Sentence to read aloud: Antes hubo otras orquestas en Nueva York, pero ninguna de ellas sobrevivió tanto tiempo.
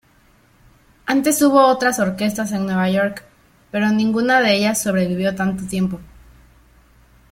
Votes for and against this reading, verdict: 2, 0, accepted